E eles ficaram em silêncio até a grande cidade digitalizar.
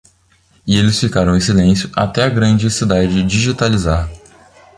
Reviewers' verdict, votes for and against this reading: accepted, 2, 0